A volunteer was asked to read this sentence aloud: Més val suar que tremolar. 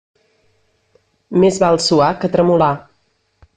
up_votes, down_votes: 3, 0